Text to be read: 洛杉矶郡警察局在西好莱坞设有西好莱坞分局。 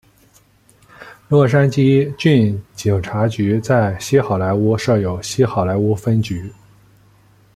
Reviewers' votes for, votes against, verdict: 2, 0, accepted